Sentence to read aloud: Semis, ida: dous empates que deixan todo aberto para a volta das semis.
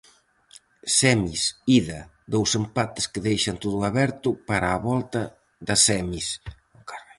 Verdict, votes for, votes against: rejected, 0, 4